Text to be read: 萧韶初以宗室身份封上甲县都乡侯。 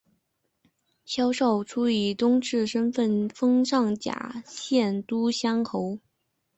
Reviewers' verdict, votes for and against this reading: accepted, 2, 1